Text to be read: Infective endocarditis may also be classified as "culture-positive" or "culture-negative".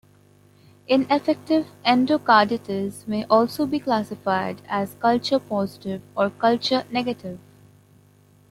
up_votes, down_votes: 1, 2